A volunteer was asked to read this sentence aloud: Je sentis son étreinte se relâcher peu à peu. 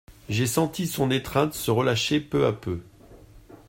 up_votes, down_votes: 0, 2